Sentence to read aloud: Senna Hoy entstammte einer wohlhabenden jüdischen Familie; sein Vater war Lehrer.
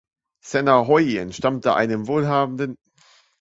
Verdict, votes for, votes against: rejected, 0, 3